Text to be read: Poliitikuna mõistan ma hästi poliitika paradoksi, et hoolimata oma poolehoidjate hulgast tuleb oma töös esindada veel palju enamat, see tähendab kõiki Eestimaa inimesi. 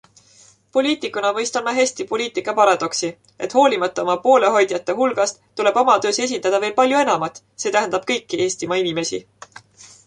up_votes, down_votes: 2, 0